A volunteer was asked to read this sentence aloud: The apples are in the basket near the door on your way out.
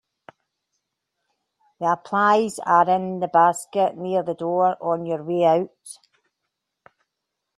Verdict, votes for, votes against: rejected, 1, 3